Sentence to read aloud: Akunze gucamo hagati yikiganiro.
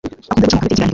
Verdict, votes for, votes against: rejected, 0, 2